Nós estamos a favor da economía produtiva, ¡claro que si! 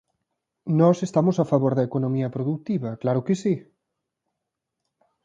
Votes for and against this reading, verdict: 2, 0, accepted